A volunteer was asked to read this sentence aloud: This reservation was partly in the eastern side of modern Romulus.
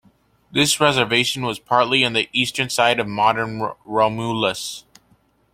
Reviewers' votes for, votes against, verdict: 0, 2, rejected